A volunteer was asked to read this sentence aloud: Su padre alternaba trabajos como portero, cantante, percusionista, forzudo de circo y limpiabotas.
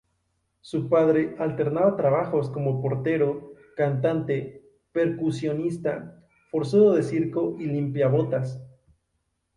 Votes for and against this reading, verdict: 2, 2, rejected